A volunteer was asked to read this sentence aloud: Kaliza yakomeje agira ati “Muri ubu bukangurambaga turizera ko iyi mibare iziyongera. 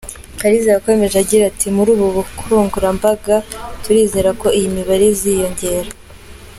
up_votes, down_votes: 3, 0